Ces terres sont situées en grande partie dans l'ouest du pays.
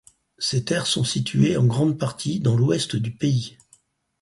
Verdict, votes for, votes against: accepted, 4, 0